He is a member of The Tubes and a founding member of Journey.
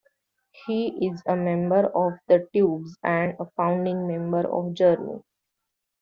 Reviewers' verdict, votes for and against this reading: rejected, 0, 2